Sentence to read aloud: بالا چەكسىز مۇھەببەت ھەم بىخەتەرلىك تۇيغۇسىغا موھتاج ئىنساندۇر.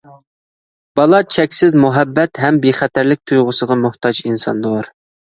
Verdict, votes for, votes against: accepted, 2, 0